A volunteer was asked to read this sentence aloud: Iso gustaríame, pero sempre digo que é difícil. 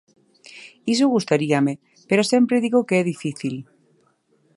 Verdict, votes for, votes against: accepted, 2, 0